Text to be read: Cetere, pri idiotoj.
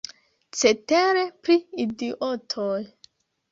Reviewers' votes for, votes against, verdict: 0, 2, rejected